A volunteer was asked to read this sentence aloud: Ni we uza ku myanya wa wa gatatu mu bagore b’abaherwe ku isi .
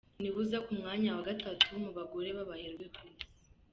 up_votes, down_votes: 1, 2